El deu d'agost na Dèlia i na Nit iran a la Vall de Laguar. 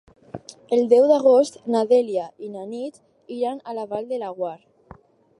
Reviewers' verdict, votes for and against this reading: accepted, 4, 2